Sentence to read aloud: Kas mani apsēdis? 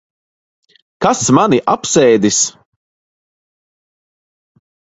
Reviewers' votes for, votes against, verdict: 2, 0, accepted